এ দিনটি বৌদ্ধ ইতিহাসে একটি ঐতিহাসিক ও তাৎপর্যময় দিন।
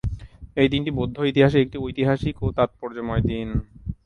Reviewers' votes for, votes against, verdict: 4, 0, accepted